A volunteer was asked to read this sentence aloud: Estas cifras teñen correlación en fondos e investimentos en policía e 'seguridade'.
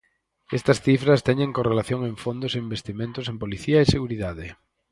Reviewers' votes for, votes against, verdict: 4, 0, accepted